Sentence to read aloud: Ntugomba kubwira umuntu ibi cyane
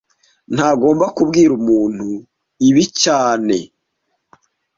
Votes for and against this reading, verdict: 0, 2, rejected